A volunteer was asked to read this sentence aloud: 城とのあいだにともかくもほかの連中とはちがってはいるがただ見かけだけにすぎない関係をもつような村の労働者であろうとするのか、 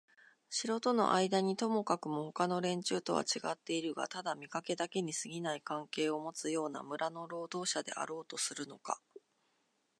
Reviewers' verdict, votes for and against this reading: accepted, 2, 1